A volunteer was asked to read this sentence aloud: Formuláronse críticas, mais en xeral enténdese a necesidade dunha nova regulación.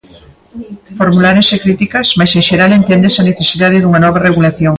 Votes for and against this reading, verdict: 0, 2, rejected